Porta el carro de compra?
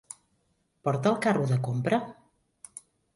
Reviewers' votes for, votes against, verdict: 3, 0, accepted